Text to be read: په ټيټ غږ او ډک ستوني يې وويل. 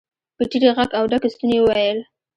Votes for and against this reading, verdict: 2, 0, accepted